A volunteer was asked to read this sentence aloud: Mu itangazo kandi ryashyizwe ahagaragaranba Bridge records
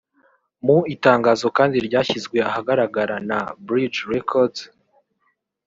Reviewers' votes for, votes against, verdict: 0, 2, rejected